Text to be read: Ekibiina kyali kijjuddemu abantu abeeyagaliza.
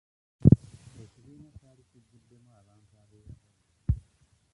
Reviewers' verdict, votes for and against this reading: rejected, 0, 2